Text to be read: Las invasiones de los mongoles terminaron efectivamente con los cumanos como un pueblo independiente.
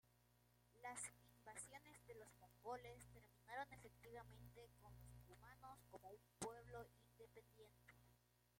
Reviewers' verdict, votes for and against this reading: rejected, 0, 2